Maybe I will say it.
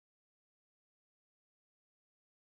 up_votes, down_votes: 0, 2